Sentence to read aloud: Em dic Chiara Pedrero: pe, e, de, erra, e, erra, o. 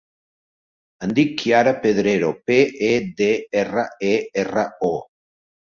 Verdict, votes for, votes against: rejected, 0, 2